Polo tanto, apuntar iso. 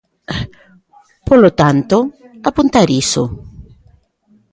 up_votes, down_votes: 2, 1